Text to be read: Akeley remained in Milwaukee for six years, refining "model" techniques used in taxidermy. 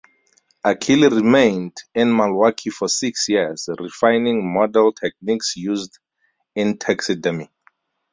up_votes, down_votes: 0, 2